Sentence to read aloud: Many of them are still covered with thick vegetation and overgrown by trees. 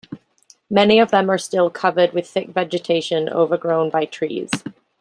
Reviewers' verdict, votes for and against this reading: rejected, 0, 2